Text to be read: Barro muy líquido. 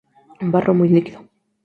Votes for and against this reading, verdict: 2, 0, accepted